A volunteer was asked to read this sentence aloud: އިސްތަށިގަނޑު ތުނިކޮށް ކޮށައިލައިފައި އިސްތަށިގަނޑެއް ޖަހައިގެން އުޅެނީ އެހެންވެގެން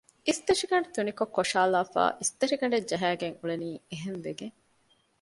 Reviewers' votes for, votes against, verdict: 2, 0, accepted